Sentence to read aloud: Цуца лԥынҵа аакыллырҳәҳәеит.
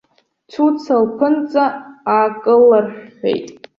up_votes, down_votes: 1, 2